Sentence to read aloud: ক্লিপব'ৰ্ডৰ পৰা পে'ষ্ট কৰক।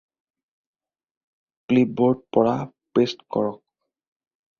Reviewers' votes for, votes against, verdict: 2, 4, rejected